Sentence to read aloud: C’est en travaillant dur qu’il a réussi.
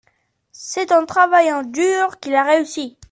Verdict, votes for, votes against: accepted, 2, 0